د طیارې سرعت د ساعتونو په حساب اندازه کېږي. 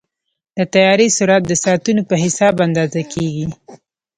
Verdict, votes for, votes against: rejected, 1, 2